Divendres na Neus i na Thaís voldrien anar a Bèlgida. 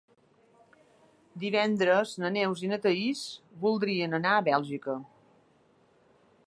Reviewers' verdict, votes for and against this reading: rejected, 1, 2